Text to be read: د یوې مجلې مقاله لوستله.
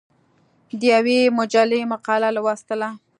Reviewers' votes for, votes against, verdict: 2, 0, accepted